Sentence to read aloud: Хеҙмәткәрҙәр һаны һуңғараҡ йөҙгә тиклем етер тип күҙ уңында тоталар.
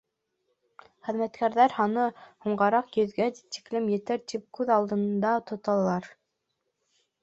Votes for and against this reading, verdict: 1, 2, rejected